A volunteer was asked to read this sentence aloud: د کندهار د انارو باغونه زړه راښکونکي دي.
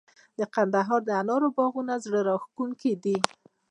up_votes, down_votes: 0, 2